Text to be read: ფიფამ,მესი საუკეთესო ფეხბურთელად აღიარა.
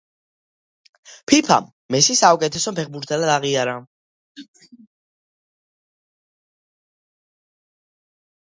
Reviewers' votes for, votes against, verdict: 2, 0, accepted